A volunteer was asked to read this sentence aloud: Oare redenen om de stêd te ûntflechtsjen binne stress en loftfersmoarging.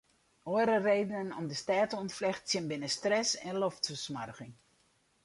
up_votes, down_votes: 2, 2